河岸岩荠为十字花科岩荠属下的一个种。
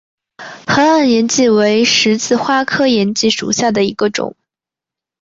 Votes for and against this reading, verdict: 3, 0, accepted